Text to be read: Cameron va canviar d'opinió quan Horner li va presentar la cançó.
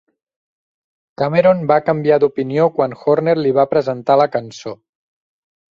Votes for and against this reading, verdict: 3, 0, accepted